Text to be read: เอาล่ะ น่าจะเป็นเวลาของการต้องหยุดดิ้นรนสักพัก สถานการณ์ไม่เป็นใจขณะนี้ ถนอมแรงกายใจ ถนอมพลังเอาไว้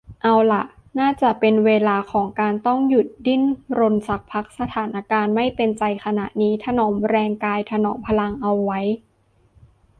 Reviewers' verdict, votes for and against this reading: rejected, 0, 2